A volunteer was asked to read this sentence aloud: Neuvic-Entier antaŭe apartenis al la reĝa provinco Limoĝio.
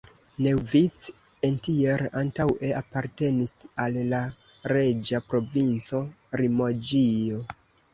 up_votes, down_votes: 0, 2